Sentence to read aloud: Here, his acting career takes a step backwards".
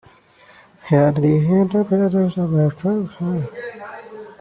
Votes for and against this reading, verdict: 0, 2, rejected